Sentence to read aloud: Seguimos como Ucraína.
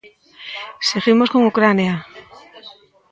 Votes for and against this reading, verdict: 0, 2, rejected